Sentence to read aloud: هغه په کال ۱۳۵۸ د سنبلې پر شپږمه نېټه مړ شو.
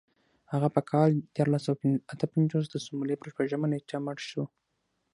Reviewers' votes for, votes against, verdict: 0, 2, rejected